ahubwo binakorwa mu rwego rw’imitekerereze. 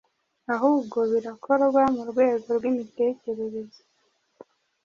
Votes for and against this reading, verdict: 1, 2, rejected